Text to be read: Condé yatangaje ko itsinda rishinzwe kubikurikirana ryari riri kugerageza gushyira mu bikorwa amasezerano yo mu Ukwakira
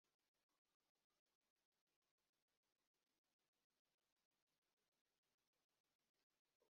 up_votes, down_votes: 0, 2